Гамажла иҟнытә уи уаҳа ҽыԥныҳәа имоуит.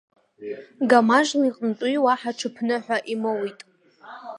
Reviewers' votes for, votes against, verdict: 2, 5, rejected